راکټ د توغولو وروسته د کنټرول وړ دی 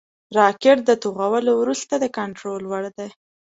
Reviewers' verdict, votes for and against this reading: accepted, 2, 0